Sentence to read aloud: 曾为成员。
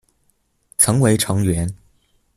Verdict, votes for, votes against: accepted, 2, 0